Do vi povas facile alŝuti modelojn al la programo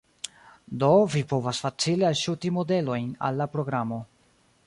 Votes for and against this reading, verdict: 0, 2, rejected